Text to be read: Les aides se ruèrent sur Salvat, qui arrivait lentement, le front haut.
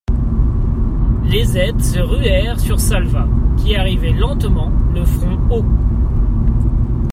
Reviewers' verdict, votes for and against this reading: accepted, 2, 0